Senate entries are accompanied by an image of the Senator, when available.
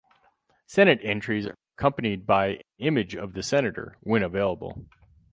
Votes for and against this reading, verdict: 0, 4, rejected